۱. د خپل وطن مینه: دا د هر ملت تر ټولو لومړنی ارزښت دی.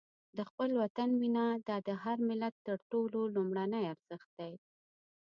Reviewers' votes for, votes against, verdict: 0, 2, rejected